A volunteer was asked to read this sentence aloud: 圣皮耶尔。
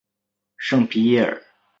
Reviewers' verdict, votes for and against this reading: accepted, 2, 0